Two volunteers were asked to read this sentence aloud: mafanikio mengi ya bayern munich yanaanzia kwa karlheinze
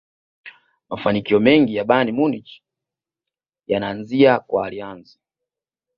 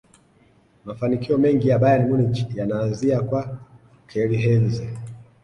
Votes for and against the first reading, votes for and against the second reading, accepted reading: 2, 0, 0, 2, first